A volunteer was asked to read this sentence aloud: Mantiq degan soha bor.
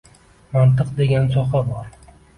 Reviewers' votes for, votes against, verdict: 0, 2, rejected